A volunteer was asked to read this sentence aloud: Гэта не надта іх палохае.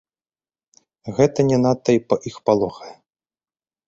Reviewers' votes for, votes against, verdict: 1, 4, rejected